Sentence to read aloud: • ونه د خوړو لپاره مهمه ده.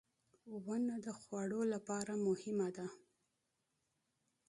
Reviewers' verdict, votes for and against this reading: accepted, 2, 0